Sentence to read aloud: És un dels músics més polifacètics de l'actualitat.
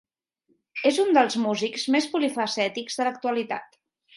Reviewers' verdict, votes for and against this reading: accepted, 2, 0